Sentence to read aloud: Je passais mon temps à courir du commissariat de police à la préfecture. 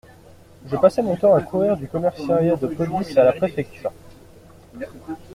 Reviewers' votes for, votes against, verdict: 0, 2, rejected